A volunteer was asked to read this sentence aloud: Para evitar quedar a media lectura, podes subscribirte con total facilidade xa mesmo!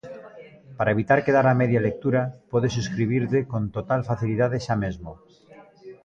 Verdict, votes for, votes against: accepted, 2, 0